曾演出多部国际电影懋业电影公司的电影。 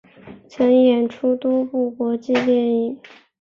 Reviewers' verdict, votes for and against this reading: accepted, 8, 3